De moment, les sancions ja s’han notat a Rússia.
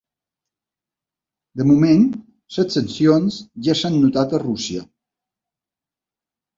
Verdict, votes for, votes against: rejected, 0, 2